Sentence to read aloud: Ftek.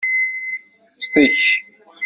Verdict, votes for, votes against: rejected, 0, 2